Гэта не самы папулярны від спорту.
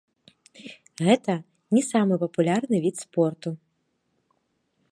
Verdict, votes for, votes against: rejected, 0, 2